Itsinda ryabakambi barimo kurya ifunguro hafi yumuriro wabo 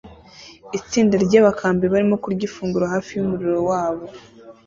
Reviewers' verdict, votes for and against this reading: accepted, 2, 0